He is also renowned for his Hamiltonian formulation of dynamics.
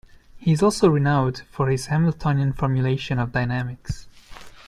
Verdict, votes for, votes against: accepted, 2, 0